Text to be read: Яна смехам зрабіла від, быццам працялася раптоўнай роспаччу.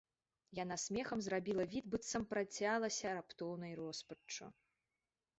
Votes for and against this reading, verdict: 2, 0, accepted